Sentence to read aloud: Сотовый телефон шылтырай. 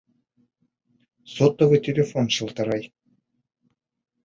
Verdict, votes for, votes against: accepted, 2, 0